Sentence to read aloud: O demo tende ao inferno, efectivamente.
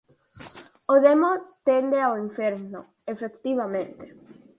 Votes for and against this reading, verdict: 4, 0, accepted